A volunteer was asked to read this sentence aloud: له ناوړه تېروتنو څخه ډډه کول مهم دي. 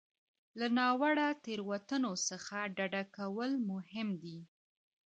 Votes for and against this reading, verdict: 2, 1, accepted